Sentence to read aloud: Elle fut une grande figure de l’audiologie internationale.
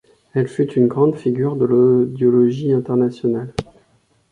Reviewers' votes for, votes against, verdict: 1, 2, rejected